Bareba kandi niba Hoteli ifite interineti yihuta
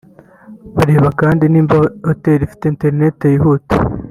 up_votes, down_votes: 1, 2